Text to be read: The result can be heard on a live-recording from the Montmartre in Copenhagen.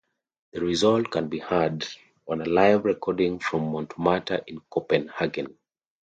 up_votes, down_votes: 0, 2